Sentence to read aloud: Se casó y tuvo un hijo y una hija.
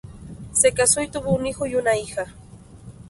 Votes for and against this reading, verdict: 4, 0, accepted